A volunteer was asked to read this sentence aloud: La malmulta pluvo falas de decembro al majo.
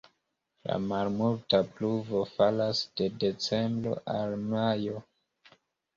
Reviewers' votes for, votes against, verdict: 2, 1, accepted